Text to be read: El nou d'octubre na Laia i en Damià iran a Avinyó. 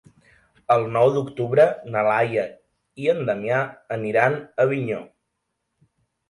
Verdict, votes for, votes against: rejected, 0, 2